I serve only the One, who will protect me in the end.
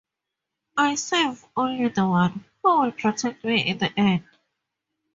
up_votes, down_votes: 4, 0